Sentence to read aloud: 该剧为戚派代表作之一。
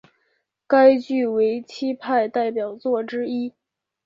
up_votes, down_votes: 2, 0